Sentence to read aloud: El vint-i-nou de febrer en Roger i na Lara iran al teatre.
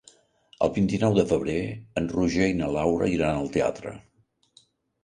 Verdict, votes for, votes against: rejected, 0, 2